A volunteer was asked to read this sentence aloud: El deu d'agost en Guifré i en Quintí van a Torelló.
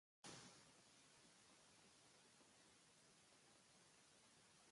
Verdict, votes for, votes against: rejected, 1, 2